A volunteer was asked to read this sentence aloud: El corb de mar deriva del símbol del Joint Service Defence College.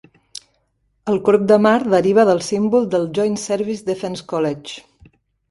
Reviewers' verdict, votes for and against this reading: accepted, 2, 0